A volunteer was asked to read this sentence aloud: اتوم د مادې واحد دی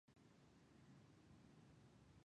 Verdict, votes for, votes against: rejected, 1, 2